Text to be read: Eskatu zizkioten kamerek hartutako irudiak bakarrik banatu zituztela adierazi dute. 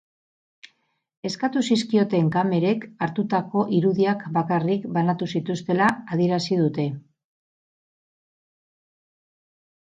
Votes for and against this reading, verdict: 4, 0, accepted